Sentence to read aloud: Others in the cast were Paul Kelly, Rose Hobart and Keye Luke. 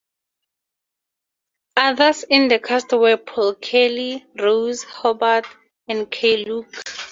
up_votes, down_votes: 2, 0